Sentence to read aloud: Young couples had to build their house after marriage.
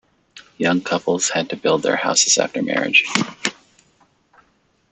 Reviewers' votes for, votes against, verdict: 0, 2, rejected